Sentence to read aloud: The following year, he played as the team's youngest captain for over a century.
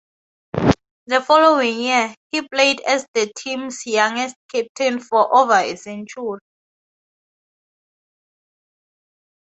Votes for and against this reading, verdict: 2, 0, accepted